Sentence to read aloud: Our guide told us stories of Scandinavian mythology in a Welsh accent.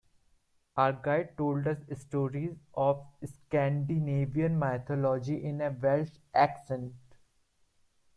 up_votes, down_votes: 1, 2